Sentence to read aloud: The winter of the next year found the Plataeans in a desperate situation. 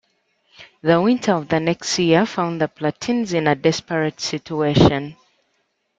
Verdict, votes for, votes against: accepted, 2, 1